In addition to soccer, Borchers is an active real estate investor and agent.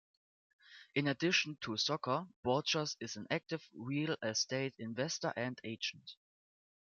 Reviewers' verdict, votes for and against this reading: accepted, 2, 1